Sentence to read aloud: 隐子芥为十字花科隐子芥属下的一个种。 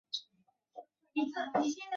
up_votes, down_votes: 0, 3